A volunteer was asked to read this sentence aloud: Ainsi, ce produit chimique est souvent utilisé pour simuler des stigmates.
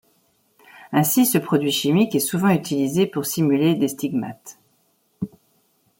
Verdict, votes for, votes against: accepted, 2, 0